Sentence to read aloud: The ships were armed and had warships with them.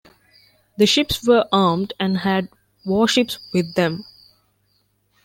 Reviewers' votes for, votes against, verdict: 2, 0, accepted